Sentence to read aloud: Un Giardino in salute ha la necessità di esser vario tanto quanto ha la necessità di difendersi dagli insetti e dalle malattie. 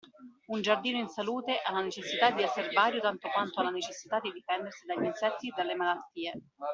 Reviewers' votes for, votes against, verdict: 2, 0, accepted